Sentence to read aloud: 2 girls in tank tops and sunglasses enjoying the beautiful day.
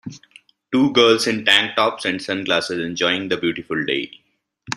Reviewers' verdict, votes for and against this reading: rejected, 0, 2